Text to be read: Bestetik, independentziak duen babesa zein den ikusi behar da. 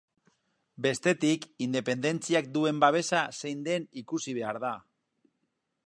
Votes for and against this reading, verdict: 4, 0, accepted